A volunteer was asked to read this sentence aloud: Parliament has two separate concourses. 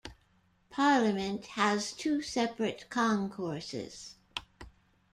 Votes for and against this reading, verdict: 2, 0, accepted